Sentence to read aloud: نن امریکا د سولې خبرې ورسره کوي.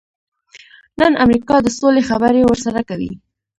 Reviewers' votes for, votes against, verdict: 2, 0, accepted